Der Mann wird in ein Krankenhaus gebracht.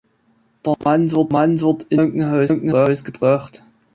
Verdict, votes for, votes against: rejected, 0, 2